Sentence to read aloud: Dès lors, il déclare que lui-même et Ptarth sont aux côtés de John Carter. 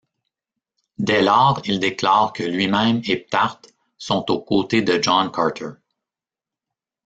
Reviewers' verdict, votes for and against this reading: rejected, 1, 2